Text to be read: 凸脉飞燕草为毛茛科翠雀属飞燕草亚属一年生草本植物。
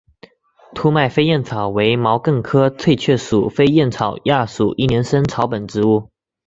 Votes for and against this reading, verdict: 4, 0, accepted